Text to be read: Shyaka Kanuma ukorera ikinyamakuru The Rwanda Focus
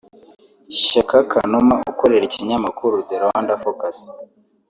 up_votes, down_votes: 1, 2